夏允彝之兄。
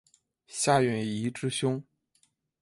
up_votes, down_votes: 2, 0